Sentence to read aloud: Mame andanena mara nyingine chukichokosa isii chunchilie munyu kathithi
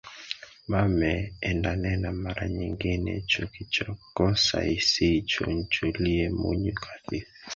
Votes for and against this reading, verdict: 0, 2, rejected